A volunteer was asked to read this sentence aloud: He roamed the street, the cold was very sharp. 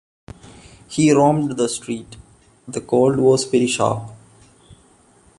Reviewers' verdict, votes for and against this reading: accepted, 2, 0